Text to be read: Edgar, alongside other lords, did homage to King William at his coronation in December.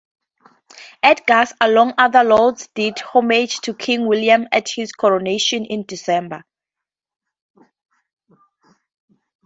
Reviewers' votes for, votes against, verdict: 2, 0, accepted